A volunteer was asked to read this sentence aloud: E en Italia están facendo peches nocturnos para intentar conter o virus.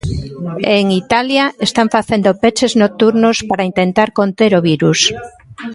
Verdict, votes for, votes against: rejected, 0, 2